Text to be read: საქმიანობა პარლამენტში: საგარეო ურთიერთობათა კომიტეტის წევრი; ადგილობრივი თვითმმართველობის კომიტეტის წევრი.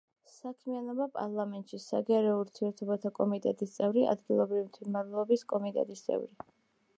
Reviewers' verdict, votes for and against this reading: accepted, 2, 0